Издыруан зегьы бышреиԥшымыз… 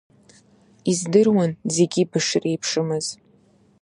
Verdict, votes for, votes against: accepted, 2, 0